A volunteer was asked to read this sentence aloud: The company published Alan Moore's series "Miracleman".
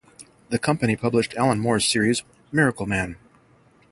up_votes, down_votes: 3, 0